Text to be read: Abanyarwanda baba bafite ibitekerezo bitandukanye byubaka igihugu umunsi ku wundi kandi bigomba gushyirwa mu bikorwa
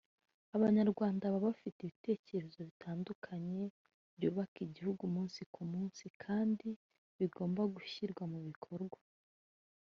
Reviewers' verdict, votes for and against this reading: rejected, 1, 2